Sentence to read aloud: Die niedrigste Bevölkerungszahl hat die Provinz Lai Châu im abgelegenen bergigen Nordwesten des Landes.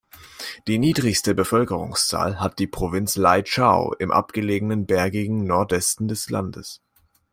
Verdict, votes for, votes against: accepted, 2, 0